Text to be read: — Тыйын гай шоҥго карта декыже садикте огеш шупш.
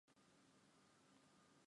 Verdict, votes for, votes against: rejected, 0, 2